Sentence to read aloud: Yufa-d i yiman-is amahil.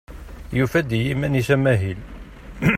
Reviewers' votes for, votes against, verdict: 2, 0, accepted